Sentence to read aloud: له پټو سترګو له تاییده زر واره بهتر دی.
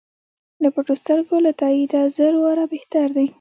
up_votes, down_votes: 2, 0